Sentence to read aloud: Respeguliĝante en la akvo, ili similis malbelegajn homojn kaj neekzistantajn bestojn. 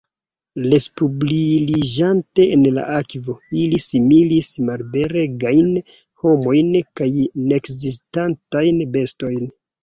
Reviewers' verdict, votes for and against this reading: rejected, 0, 2